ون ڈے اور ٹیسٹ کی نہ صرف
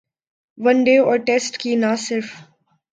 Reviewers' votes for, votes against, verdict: 6, 0, accepted